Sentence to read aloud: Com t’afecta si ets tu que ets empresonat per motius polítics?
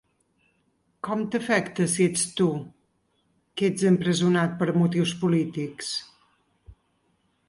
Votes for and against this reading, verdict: 2, 4, rejected